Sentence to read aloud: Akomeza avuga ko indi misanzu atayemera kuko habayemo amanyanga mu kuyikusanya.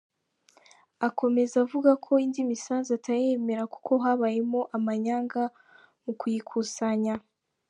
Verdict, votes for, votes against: accepted, 2, 1